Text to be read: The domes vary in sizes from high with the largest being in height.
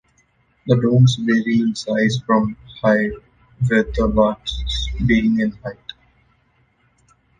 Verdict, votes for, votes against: rejected, 1, 2